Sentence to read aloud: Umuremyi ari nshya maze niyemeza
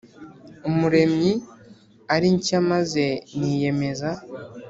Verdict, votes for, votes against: accepted, 4, 0